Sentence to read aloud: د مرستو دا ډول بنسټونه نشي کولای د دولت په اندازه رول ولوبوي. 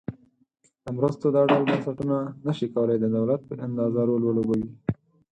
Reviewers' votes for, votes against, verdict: 4, 0, accepted